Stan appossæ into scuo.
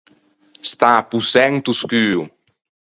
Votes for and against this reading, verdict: 4, 0, accepted